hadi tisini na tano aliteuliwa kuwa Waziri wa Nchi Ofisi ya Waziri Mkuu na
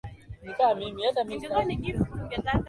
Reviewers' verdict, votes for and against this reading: rejected, 0, 2